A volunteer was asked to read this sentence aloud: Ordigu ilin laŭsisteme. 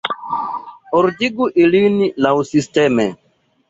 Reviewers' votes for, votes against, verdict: 1, 2, rejected